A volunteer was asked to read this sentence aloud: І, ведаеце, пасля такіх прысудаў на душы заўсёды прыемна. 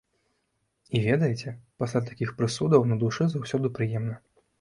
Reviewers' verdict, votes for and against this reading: accepted, 2, 1